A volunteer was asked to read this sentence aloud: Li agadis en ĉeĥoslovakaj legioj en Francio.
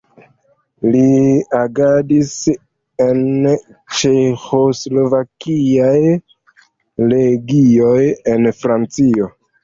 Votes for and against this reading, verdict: 0, 2, rejected